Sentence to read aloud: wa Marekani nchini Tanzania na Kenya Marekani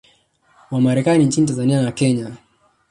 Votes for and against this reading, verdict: 1, 2, rejected